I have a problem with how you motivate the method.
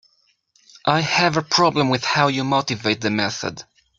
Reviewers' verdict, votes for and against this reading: accepted, 2, 0